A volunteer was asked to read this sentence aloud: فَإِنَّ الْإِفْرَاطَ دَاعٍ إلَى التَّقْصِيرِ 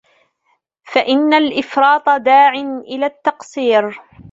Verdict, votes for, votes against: accepted, 2, 1